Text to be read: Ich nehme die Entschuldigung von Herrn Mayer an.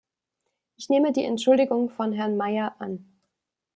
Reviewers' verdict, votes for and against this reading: accepted, 2, 0